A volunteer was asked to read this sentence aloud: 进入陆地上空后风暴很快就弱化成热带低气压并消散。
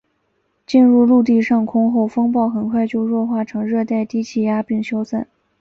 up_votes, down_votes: 2, 0